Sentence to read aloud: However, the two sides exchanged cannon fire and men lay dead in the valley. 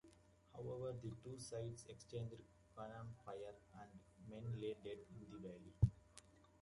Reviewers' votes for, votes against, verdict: 0, 2, rejected